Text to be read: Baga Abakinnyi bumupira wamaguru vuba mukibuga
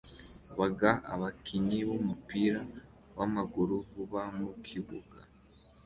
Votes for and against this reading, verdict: 3, 2, accepted